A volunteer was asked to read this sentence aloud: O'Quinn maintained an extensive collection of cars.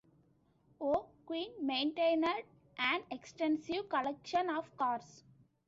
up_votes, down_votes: 2, 0